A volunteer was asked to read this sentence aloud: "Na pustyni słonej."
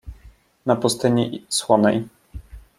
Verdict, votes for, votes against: rejected, 0, 2